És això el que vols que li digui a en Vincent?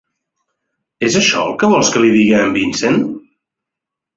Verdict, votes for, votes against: accepted, 2, 0